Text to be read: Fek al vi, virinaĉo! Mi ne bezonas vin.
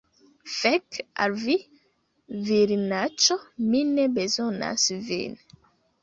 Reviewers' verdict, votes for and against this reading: accepted, 2, 0